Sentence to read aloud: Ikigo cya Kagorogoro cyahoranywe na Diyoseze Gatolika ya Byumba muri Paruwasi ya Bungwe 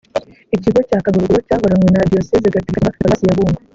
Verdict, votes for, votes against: rejected, 0, 2